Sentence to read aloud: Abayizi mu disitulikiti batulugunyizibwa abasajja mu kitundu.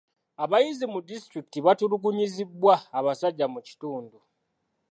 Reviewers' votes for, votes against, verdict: 1, 2, rejected